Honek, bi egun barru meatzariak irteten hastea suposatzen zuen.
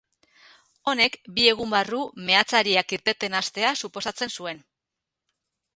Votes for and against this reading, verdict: 4, 0, accepted